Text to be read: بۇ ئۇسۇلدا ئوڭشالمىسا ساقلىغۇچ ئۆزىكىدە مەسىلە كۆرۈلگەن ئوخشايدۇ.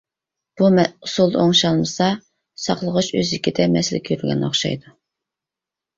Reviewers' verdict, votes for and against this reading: rejected, 0, 2